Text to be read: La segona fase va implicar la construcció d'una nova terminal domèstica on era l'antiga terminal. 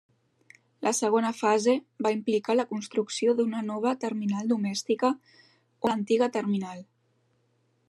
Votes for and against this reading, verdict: 1, 2, rejected